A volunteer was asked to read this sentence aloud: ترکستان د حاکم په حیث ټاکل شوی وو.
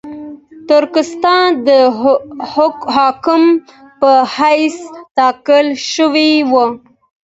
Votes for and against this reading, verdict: 1, 2, rejected